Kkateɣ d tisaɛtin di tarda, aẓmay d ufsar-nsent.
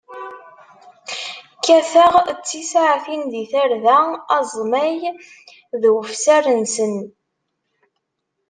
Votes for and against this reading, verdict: 1, 2, rejected